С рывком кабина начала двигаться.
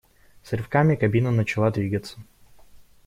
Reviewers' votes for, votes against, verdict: 0, 2, rejected